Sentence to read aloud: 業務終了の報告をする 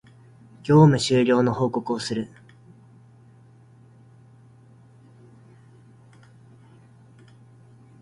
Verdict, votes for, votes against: accepted, 2, 0